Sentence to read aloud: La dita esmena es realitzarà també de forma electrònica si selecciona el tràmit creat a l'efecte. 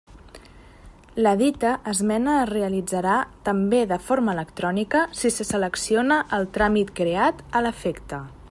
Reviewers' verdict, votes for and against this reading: rejected, 0, 2